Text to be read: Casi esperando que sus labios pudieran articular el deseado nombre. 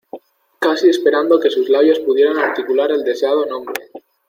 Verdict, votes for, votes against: accepted, 2, 0